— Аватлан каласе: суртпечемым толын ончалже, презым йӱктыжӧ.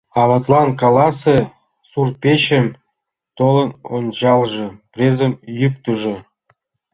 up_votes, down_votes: 2, 1